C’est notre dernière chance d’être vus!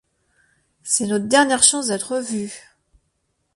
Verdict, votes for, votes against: accepted, 2, 0